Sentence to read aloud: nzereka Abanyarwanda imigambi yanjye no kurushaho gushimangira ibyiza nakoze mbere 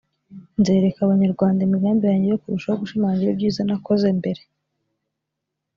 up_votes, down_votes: 2, 0